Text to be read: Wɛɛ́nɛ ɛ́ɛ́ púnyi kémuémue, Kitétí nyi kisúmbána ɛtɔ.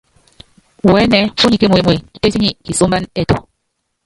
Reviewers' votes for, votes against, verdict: 0, 3, rejected